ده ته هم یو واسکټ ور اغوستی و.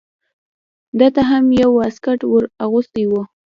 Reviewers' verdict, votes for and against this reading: rejected, 0, 2